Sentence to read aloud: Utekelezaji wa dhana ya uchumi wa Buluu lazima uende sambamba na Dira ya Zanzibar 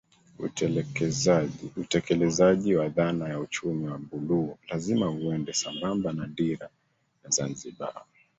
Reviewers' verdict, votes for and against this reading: rejected, 0, 2